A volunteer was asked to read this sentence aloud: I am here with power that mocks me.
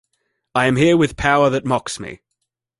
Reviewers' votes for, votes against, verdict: 2, 0, accepted